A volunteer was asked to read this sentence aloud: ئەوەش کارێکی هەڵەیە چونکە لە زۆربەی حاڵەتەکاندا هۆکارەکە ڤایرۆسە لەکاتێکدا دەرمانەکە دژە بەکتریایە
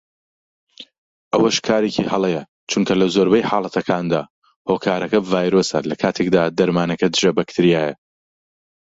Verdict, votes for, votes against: accepted, 2, 0